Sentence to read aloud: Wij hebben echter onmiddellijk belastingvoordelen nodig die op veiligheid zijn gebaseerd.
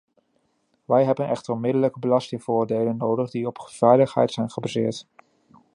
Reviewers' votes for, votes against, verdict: 2, 1, accepted